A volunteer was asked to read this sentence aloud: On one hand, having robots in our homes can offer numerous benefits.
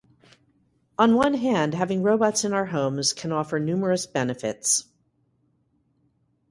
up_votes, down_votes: 2, 2